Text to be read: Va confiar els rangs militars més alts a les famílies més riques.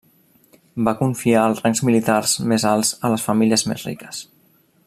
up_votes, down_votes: 2, 0